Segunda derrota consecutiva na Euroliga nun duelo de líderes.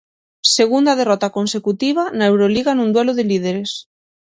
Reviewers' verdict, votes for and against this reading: accepted, 6, 0